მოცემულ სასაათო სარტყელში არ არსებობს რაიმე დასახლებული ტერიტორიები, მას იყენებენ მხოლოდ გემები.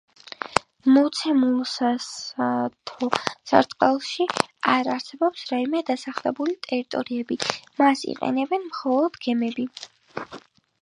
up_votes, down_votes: 2, 1